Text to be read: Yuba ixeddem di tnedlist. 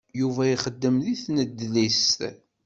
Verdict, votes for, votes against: accepted, 2, 0